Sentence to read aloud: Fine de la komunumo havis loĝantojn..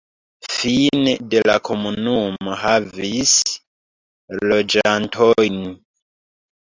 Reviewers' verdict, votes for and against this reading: accepted, 2, 1